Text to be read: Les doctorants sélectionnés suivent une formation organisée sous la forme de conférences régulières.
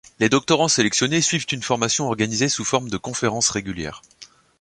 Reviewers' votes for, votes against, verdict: 1, 2, rejected